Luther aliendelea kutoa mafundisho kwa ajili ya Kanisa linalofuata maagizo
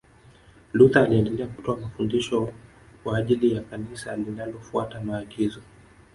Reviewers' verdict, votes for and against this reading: rejected, 1, 2